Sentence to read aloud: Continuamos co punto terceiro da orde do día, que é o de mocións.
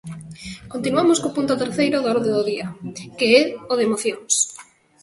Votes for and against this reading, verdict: 2, 0, accepted